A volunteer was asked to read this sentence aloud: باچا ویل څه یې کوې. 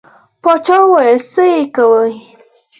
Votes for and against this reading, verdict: 4, 0, accepted